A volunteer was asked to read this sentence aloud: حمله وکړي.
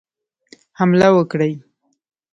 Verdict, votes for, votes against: rejected, 1, 2